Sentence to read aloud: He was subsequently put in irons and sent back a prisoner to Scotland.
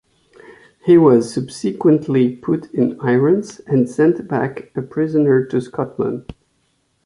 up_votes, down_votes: 2, 0